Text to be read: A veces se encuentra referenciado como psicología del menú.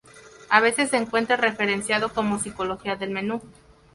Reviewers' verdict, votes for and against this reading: rejected, 2, 2